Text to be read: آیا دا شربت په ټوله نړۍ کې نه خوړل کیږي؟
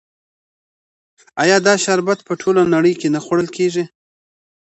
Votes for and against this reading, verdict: 2, 0, accepted